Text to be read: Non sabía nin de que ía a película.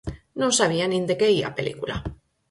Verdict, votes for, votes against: accepted, 4, 0